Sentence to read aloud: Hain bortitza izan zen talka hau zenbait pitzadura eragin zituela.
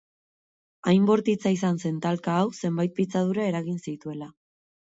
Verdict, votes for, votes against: accepted, 4, 0